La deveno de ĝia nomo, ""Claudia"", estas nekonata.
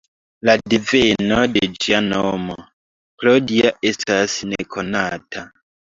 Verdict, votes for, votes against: accepted, 2, 1